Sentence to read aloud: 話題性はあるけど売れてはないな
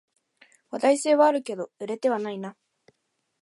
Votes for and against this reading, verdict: 2, 0, accepted